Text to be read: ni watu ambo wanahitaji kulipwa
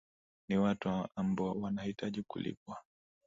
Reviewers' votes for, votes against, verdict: 3, 0, accepted